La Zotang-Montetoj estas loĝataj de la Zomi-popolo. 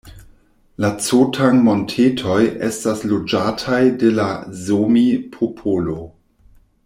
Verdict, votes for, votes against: rejected, 0, 2